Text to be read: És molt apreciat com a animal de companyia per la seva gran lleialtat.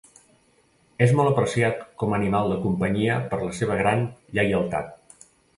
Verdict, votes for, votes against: accepted, 2, 0